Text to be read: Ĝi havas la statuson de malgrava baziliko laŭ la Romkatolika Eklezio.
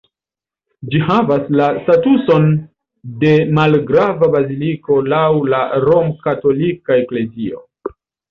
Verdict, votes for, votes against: rejected, 0, 2